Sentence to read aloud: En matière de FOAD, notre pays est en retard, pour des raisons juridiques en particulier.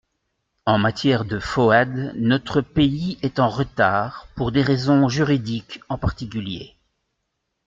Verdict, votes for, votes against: rejected, 1, 2